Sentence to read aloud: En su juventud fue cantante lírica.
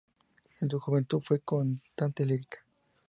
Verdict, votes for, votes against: rejected, 0, 2